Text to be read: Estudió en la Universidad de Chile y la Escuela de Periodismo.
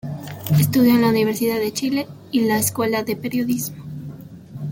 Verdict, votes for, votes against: accepted, 2, 0